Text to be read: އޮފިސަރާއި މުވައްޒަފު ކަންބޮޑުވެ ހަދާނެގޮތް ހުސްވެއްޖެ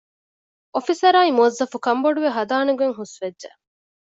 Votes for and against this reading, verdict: 2, 0, accepted